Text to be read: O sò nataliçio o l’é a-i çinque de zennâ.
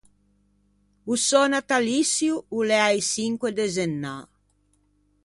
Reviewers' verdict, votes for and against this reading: rejected, 0, 2